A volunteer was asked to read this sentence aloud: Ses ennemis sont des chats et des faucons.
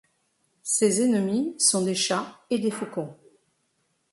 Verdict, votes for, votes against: accepted, 2, 0